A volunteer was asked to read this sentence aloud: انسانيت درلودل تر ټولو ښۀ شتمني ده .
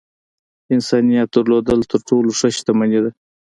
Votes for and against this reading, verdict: 2, 1, accepted